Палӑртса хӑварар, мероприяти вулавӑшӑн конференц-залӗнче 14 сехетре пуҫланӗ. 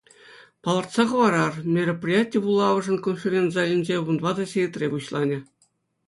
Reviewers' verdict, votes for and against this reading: rejected, 0, 2